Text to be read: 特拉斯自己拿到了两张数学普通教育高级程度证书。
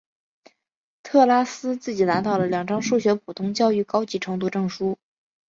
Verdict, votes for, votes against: accepted, 3, 0